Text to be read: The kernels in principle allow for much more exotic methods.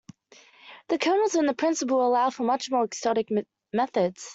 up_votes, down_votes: 0, 2